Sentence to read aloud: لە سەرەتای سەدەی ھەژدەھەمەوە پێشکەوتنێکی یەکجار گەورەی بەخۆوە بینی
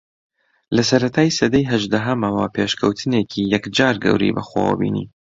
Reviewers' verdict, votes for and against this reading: accepted, 2, 0